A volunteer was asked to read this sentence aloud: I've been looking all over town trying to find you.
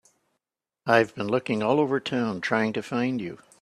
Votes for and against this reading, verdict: 3, 0, accepted